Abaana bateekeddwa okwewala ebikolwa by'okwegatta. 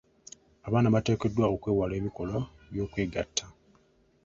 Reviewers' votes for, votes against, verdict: 2, 0, accepted